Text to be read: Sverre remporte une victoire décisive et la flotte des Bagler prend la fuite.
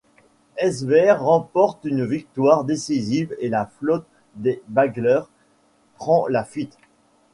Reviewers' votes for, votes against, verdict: 2, 1, accepted